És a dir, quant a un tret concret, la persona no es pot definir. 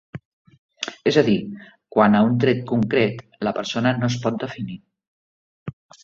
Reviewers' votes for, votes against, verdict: 3, 0, accepted